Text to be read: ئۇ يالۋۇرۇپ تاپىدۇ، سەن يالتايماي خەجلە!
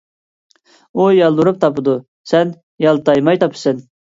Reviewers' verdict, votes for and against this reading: rejected, 2, 3